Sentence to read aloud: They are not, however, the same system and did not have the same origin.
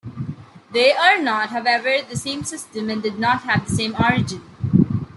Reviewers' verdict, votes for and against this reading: accepted, 2, 0